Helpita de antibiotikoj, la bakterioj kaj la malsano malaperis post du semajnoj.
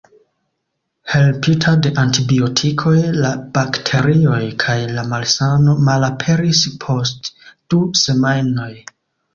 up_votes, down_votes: 2, 1